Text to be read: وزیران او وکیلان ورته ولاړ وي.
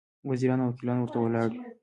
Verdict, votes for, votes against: accepted, 3, 0